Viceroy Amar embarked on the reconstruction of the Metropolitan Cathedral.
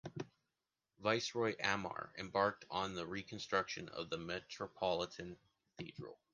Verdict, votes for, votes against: accepted, 2, 0